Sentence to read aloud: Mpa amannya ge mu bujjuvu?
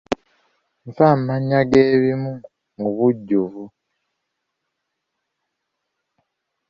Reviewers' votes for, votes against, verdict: 3, 4, rejected